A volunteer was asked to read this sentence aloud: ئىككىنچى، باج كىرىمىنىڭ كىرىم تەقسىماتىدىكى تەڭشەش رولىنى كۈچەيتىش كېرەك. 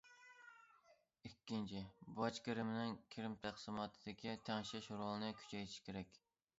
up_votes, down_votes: 2, 0